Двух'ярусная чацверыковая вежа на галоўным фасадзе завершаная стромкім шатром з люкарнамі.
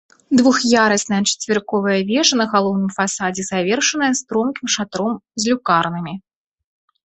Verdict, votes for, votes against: accepted, 2, 0